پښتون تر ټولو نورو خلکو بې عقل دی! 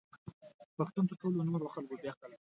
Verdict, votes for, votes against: rejected, 1, 2